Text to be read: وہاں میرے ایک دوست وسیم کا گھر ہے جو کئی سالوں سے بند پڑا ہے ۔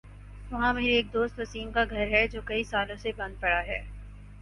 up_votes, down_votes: 4, 0